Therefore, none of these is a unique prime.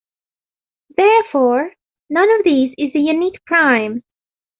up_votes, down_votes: 2, 0